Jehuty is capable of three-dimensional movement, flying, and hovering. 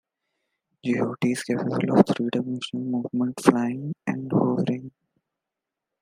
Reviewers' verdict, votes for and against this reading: rejected, 1, 3